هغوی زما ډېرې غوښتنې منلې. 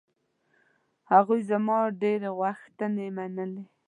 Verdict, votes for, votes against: rejected, 1, 2